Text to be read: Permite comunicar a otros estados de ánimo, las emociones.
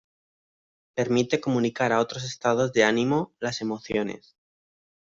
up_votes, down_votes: 2, 0